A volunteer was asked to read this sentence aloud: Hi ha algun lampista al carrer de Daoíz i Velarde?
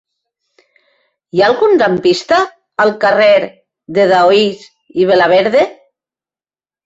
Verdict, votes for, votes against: rejected, 1, 2